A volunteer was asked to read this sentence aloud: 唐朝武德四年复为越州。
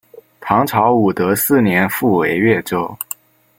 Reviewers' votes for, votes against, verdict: 2, 0, accepted